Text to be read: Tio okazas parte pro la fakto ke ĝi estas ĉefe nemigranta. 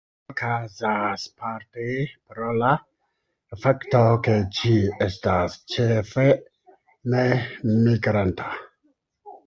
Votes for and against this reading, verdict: 0, 2, rejected